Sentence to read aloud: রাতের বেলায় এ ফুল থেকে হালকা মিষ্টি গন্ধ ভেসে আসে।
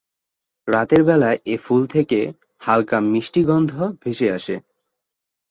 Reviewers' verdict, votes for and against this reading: accepted, 2, 0